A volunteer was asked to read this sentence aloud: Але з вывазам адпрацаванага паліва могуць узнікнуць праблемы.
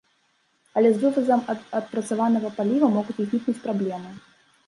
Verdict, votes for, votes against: rejected, 1, 2